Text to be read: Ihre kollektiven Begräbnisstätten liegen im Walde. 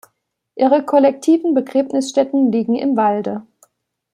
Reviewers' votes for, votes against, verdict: 2, 0, accepted